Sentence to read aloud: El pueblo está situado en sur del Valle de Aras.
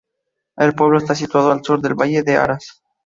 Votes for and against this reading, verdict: 2, 0, accepted